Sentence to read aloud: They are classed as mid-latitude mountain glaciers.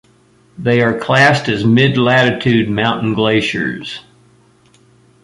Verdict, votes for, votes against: accepted, 2, 0